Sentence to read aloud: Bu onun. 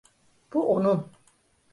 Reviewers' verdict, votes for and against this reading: accepted, 2, 0